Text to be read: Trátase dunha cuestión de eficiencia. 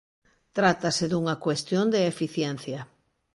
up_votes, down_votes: 2, 0